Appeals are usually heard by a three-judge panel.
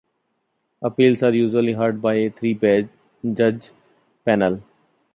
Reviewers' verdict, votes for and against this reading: rejected, 1, 2